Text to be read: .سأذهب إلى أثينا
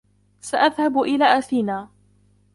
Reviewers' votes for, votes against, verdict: 2, 1, accepted